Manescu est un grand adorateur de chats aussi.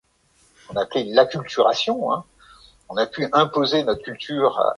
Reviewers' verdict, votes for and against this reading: rejected, 0, 3